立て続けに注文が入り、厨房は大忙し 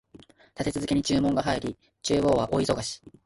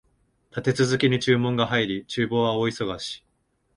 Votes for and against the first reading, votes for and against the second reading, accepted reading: 1, 2, 2, 0, second